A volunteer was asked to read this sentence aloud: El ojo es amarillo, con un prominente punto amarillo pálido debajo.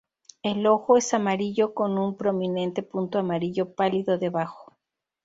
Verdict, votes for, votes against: accepted, 2, 0